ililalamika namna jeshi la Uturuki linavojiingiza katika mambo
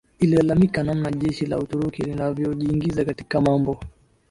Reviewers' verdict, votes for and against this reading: accepted, 2, 1